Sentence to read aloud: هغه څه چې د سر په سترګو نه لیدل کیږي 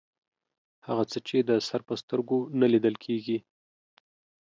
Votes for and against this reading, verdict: 2, 0, accepted